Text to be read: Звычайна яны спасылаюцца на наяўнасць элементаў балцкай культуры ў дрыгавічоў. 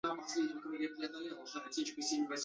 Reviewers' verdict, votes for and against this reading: rejected, 0, 2